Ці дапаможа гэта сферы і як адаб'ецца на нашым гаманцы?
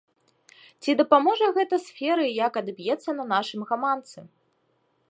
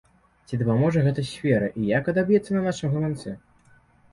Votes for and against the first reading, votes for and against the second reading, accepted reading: 0, 2, 2, 0, second